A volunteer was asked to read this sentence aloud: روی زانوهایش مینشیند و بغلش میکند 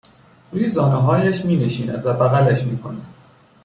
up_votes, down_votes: 2, 0